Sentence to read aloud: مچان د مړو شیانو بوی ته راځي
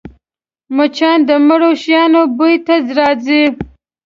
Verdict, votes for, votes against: rejected, 1, 2